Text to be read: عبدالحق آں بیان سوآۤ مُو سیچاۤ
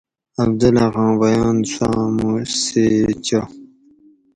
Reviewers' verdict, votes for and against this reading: rejected, 2, 2